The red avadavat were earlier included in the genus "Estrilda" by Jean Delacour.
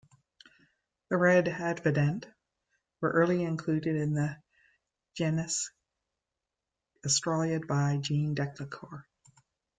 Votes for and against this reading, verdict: 0, 2, rejected